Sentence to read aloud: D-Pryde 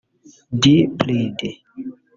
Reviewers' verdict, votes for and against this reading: rejected, 1, 2